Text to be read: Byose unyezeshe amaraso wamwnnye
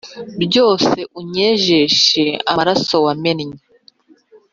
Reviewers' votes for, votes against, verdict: 0, 2, rejected